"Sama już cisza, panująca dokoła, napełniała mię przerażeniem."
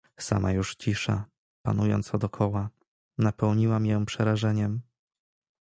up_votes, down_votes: 1, 2